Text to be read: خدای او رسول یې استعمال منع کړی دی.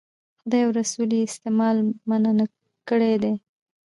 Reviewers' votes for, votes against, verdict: 2, 3, rejected